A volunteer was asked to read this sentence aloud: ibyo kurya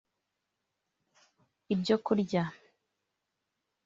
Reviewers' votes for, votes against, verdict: 2, 0, accepted